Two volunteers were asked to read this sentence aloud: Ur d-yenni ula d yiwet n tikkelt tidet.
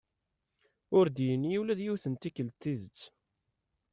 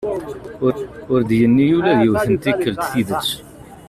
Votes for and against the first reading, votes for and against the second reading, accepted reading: 2, 0, 0, 2, first